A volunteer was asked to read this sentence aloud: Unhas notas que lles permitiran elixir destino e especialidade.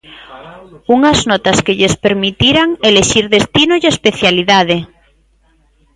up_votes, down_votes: 2, 1